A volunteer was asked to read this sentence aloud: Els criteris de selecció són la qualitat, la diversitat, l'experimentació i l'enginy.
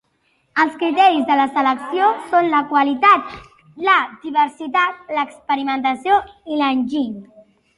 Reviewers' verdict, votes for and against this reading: accepted, 2, 1